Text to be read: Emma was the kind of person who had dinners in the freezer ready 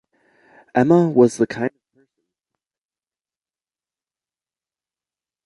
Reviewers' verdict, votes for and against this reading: rejected, 0, 2